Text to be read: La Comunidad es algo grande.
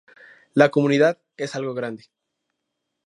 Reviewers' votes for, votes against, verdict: 2, 0, accepted